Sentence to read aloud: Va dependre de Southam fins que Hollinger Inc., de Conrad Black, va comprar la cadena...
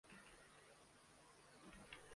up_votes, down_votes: 0, 2